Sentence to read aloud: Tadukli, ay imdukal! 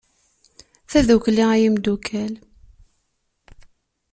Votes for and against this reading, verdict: 2, 0, accepted